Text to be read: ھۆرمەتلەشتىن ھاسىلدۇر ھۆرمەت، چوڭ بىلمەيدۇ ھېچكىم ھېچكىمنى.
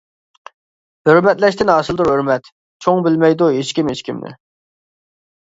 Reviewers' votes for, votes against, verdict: 2, 0, accepted